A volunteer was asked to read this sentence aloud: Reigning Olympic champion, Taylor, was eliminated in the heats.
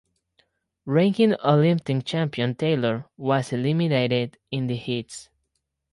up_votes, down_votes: 0, 4